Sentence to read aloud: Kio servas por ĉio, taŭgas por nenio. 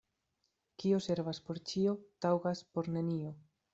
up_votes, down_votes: 2, 0